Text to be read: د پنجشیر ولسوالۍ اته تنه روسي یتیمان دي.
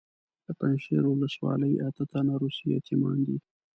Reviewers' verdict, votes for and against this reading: accepted, 2, 0